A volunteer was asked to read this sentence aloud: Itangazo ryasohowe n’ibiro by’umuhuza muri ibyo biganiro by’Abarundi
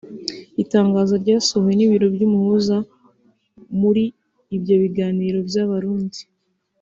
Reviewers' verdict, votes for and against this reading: accepted, 3, 0